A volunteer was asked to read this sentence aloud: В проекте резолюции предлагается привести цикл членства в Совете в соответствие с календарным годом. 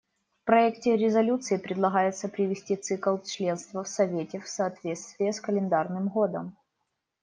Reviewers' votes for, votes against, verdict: 1, 2, rejected